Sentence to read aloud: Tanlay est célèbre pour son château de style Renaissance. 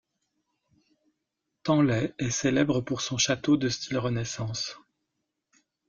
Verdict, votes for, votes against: rejected, 1, 2